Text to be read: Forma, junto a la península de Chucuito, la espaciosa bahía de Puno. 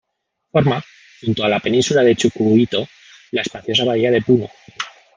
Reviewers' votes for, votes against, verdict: 1, 2, rejected